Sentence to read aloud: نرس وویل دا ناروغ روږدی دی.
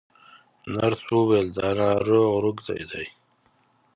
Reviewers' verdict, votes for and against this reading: accepted, 2, 0